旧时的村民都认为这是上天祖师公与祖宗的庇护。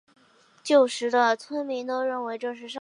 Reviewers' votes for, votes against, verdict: 0, 2, rejected